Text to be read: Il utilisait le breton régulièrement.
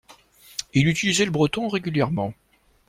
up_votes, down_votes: 2, 0